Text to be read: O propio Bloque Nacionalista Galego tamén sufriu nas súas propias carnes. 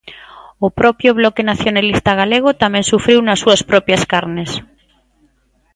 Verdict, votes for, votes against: accepted, 2, 0